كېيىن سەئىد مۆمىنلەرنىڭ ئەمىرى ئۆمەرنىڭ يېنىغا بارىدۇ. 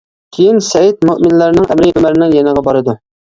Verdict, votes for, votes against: rejected, 0, 2